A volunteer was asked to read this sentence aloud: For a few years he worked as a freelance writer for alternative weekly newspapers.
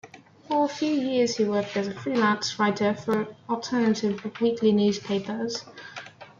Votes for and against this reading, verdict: 2, 0, accepted